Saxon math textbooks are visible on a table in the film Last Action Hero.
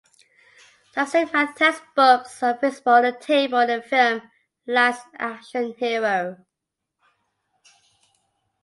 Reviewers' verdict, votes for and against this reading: rejected, 0, 2